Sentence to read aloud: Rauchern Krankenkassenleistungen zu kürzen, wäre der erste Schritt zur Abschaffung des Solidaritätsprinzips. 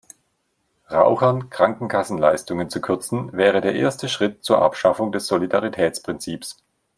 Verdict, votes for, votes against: accepted, 2, 0